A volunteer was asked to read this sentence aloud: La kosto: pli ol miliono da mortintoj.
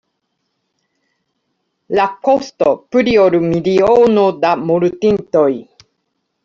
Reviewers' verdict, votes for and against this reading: rejected, 1, 3